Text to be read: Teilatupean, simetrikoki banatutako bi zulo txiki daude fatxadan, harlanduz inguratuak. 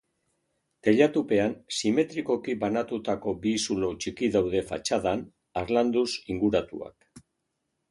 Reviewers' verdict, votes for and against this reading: accepted, 2, 0